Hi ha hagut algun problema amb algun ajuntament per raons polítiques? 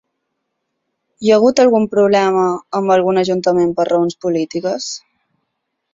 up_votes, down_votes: 9, 0